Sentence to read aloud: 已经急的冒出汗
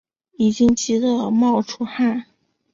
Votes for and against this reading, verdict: 2, 0, accepted